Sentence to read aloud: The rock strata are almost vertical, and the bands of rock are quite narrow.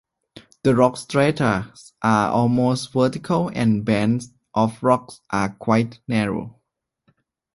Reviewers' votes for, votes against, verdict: 2, 0, accepted